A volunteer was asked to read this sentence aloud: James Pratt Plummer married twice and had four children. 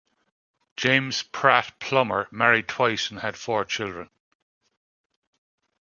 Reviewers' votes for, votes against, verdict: 2, 0, accepted